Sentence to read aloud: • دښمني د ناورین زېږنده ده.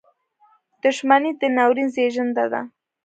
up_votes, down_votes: 1, 2